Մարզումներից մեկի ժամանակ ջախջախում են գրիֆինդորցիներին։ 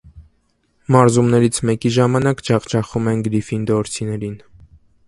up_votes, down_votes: 2, 0